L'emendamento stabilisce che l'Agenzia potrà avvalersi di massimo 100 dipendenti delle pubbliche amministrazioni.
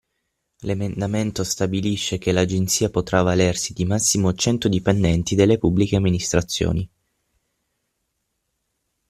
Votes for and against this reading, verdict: 0, 2, rejected